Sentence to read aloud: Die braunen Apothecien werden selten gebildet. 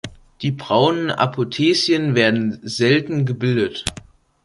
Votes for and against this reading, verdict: 2, 0, accepted